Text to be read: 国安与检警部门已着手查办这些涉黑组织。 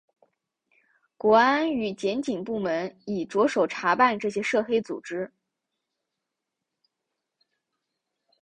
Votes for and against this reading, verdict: 3, 0, accepted